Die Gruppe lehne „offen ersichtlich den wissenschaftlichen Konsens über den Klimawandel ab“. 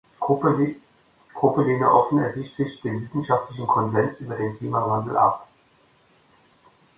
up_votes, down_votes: 0, 2